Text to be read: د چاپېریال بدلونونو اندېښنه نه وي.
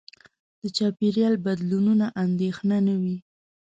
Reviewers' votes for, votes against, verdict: 0, 2, rejected